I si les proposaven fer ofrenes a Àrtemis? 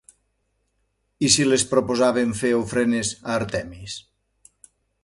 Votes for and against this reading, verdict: 0, 2, rejected